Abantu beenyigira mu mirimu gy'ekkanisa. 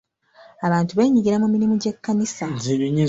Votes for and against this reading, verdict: 1, 2, rejected